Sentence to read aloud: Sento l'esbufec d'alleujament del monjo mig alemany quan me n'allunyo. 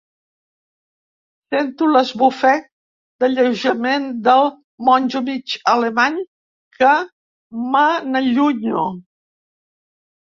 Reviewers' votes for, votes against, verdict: 0, 3, rejected